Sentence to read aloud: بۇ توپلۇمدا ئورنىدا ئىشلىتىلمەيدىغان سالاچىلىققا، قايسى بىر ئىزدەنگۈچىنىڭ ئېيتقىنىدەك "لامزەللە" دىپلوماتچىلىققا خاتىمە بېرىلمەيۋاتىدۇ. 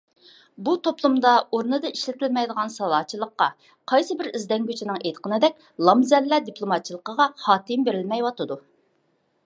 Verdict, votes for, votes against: accepted, 2, 0